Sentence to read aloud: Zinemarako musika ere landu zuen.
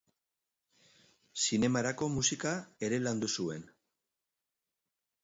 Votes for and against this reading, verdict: 2, 0, accepted